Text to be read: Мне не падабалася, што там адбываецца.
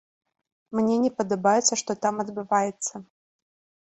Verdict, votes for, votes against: rejected, 1, 2